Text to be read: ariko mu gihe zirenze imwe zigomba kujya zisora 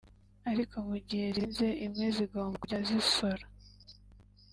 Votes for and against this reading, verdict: 1, 2, rejected